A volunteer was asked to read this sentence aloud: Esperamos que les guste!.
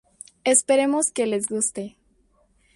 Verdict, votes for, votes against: rejected, 0, 2